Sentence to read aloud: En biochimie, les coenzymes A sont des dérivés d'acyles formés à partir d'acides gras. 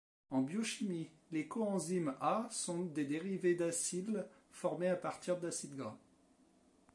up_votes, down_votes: 2, 0